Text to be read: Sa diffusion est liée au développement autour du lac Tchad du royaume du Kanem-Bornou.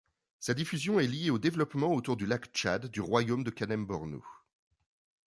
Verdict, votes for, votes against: accepted, 2, 0